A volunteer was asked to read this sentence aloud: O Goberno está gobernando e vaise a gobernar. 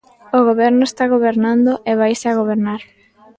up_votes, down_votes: 2, 0